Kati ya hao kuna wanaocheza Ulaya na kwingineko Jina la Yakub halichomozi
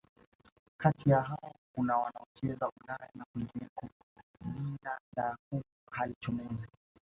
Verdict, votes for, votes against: rejected, 1, 2